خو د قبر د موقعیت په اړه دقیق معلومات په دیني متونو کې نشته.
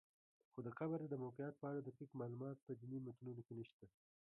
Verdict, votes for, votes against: accepted, 2, 0